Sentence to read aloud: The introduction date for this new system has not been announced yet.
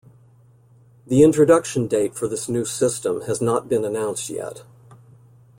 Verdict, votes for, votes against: accepted, 2, 0